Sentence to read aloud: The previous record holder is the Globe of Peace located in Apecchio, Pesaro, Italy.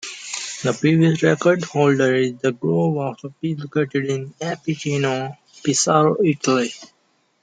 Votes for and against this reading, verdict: 2, 1, accepted